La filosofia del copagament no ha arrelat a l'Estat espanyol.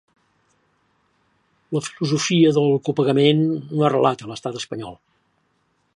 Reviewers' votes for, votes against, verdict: 2, 0, accepted